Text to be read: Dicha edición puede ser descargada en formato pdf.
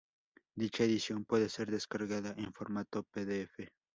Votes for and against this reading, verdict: 2, 2, rejected